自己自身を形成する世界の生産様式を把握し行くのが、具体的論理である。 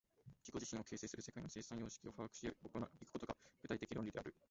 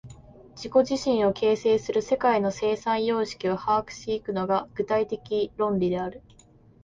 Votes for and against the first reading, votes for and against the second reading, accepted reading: 1, 2, 3, 1, second